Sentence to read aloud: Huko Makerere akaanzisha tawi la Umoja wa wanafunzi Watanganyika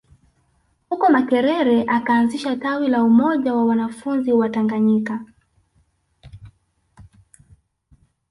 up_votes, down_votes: 6, 0